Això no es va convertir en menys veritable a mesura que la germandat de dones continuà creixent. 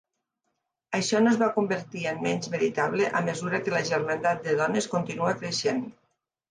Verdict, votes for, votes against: rejected, 2, 3